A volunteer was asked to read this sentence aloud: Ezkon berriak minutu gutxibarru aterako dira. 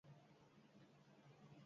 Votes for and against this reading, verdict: 0, 4, rejected